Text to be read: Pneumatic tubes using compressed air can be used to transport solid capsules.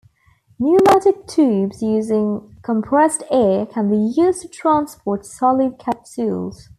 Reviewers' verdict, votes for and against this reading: accepted, 2, 1